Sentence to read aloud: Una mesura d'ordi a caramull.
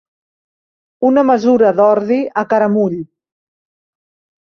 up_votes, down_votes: 3, 0